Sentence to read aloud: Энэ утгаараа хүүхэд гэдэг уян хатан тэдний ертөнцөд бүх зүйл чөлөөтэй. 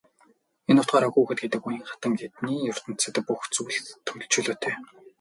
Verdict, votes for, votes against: rejected, 0, 4